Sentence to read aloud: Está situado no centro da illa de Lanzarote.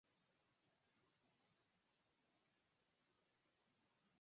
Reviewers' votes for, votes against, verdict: 0, 4, rejected